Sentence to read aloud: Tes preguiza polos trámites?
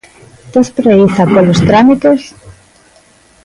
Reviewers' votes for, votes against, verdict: 0, 2, rejected